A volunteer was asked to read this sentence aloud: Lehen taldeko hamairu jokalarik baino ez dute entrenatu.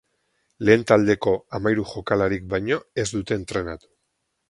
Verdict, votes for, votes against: rejected, 2, 2